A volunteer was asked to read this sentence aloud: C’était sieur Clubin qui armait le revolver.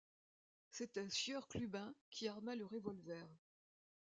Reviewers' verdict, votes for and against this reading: rejected, 1, 2